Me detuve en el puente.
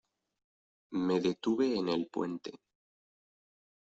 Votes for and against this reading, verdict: 2, 0, accepted